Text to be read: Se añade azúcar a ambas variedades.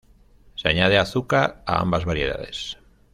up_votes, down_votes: 2, 0